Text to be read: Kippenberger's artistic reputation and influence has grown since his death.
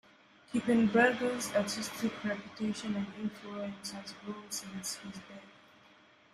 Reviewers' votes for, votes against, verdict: 0, 2, rejected